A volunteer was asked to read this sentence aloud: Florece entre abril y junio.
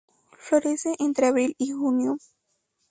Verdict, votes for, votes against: accepted, 2, 0